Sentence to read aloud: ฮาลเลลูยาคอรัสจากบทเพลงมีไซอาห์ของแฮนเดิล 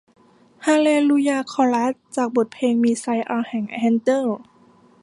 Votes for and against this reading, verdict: 1, 2, rejected